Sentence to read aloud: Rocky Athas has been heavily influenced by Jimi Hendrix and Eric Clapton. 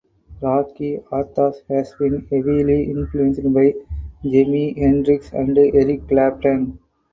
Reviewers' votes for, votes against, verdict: 4, 2, accepted